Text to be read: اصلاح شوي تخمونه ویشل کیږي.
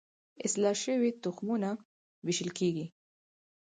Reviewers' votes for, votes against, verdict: 4, 0, accepted